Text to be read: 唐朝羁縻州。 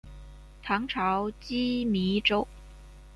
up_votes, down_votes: 2, 0